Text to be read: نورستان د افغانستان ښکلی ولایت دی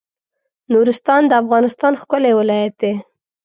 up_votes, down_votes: 2, 0